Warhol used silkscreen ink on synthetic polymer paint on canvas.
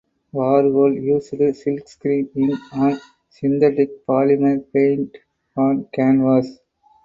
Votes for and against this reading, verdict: 0, 2, rejected